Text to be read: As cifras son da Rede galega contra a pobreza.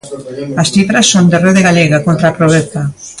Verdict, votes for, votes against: rejected, 0, 2